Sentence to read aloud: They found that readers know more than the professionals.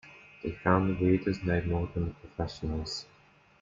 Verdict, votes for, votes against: rejected, 1, 2